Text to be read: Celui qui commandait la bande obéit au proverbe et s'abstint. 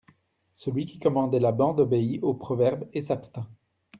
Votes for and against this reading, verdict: 2, 0, accepted